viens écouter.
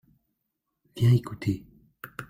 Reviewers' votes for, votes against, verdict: 2, 1, accepted